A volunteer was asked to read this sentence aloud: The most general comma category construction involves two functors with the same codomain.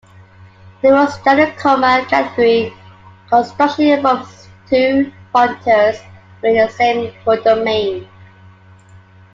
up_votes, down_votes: 1, 2